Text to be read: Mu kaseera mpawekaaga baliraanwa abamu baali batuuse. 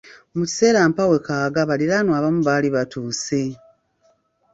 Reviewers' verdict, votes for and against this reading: rejected, 1, 2